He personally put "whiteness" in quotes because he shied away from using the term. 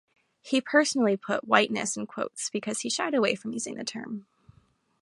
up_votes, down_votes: 2, 0